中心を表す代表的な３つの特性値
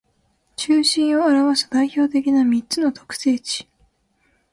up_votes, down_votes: 0, 2